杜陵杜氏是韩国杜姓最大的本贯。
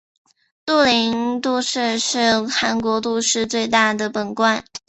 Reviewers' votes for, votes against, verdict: 0, 2, rejected